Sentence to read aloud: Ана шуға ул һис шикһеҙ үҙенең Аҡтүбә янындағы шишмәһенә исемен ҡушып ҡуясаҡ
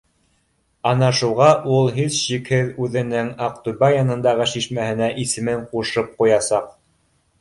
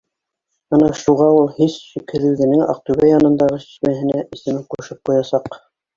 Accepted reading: first